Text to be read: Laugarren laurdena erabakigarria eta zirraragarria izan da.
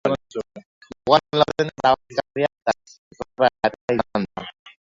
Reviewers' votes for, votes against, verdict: 1, 4, rejected